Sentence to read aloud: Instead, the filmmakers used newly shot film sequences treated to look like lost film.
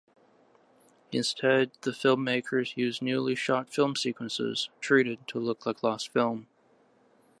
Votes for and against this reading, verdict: 2, 0, accepted